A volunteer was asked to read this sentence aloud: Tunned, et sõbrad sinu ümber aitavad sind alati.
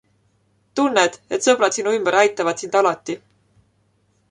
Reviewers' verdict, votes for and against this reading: accepted, 2, 0